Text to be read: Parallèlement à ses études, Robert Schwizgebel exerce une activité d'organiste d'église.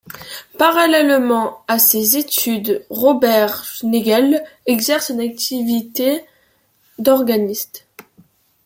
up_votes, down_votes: 0, 2